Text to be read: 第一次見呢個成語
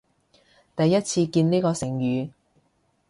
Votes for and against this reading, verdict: 2, 0, accepted